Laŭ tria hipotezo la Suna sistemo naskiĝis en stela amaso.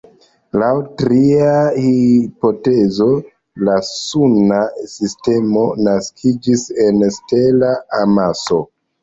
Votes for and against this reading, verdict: 3, 0, accepted